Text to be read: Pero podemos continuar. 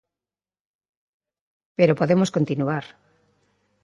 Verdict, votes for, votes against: accepted, 2, 0